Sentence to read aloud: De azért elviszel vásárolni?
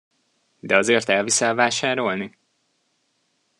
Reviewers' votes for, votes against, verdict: 2, 0, accepted